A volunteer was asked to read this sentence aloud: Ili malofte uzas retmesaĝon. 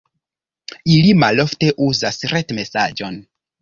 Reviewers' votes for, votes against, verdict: 2, 0, accepted